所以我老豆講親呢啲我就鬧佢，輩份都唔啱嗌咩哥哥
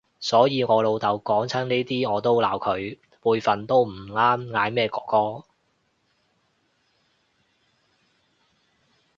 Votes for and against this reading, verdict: 0, 2, rejected